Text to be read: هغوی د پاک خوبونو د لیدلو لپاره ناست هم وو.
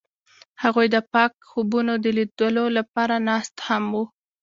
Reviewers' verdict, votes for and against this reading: accepted, 2, 0